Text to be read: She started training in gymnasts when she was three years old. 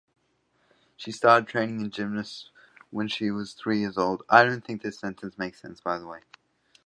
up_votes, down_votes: 0, 2